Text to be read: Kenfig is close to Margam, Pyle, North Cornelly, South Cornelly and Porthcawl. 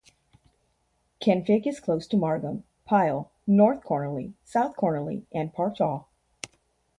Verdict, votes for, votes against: rejected, 0, 2